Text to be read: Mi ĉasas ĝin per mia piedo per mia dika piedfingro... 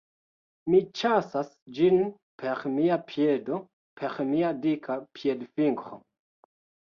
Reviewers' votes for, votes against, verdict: 0, 2, rejected